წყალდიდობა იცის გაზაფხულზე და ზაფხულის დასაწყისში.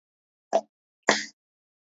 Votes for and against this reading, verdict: 0, 2, rejected